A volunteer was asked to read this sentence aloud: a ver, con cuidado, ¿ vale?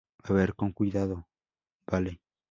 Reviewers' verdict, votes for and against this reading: rejected, 0, 2